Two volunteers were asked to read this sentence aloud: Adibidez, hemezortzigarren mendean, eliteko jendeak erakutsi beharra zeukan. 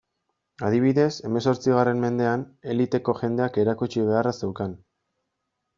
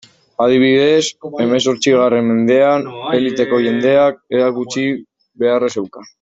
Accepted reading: first